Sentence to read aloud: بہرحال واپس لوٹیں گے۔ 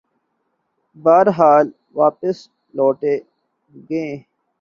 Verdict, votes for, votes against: accepted, 7, 1